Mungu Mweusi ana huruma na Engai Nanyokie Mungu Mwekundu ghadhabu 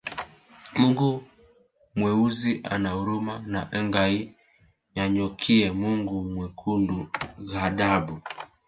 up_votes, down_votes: 0, 2